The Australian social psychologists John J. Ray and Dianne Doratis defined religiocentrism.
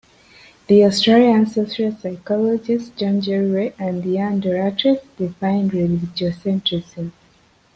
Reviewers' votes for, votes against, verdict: 0, 2, rejected